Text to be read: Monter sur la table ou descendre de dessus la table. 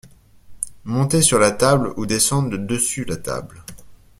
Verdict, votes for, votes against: accepted, 2, 0